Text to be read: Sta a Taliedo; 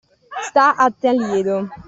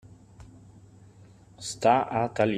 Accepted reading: first